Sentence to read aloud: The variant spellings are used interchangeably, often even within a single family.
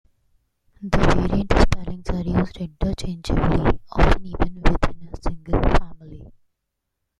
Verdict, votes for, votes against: rejected, 0, 2